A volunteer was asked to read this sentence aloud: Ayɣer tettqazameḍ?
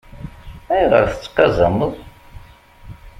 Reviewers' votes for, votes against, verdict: 2, 0, accepted